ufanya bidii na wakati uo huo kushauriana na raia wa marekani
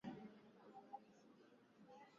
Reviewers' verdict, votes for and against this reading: rejected, 3, 10